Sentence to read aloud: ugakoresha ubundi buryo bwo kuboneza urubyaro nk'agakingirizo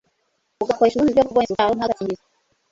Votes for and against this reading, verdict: 1, 2, rejected